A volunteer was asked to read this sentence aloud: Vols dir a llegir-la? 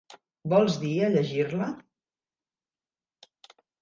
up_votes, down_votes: 4, 0